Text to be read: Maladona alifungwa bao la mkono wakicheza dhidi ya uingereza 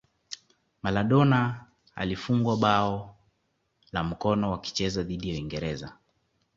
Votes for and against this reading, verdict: 2, 0, accepted